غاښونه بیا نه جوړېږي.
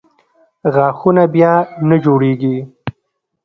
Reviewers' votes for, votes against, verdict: 1, 2, rejected